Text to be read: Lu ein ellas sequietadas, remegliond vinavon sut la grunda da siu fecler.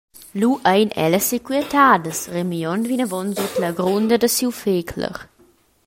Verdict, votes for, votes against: rejected, 1, 2